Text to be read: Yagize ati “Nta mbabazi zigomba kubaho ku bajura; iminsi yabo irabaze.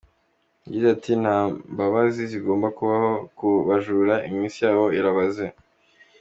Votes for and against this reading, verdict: 3, 0, accepted